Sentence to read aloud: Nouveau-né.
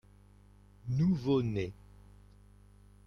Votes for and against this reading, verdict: 2, 0, accepted